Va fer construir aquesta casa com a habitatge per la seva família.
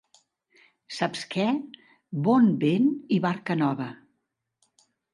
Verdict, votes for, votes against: rejected, 0, 2